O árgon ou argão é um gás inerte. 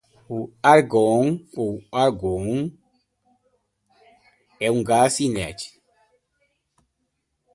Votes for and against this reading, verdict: 2, 0, accepted